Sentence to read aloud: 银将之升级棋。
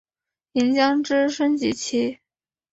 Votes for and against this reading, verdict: 6, 0, accepted